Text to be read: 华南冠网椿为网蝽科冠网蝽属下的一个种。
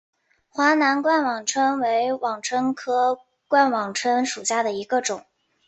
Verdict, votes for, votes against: rejected, 4, 4